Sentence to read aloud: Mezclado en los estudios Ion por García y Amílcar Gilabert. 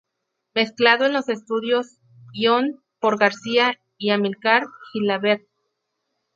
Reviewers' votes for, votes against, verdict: 0, 2, rejected